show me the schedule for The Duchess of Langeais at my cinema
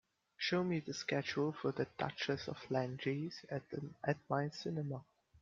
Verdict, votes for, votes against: rejected, 1, 2